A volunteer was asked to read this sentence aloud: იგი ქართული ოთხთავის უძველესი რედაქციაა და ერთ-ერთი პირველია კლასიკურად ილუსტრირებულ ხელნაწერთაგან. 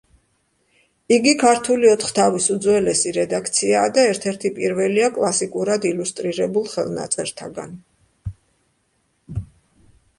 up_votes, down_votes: 2, 0